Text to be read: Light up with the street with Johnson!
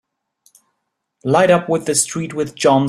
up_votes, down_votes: 0, 2